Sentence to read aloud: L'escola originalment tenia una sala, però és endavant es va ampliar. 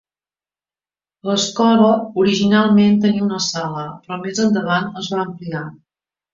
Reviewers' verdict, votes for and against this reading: rejected, 1, 2